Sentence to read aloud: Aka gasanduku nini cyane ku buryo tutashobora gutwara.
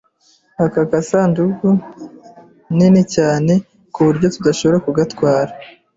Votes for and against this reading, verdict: 2, 0, accepted